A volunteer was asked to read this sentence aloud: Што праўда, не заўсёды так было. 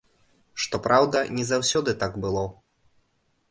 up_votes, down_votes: 2, 0